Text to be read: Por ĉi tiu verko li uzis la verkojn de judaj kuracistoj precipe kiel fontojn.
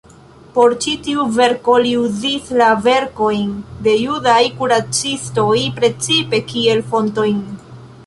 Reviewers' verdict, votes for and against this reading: accepted, 2, 0